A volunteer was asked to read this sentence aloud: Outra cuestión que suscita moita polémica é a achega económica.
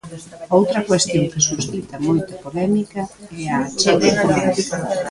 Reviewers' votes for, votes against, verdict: 0, 2, rejected